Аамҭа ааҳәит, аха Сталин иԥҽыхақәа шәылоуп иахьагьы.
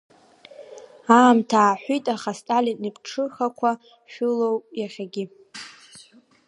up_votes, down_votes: 2, 0